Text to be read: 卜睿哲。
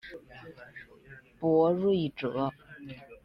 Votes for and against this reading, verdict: 0, 2, rejected